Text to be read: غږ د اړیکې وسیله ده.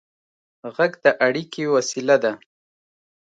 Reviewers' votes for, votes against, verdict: 2, 0, accepted